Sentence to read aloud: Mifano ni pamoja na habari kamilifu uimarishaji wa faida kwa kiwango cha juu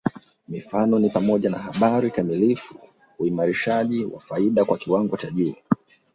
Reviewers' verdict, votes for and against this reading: accepted, 4, 1